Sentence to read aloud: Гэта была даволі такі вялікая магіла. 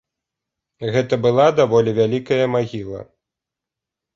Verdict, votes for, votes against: rejected, 0, 4